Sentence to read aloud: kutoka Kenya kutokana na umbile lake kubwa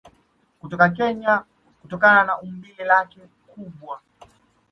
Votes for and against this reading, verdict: 2, 0, accepted